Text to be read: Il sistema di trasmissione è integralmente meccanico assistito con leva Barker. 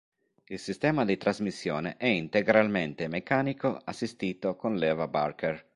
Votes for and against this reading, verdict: 3, 0, accepted